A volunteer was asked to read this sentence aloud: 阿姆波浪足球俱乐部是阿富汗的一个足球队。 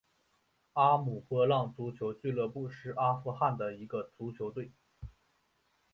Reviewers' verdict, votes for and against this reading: rejected, 0, 2